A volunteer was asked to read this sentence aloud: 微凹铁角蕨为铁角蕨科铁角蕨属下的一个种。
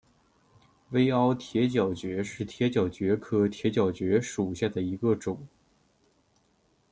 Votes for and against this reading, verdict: 2, 1, accepted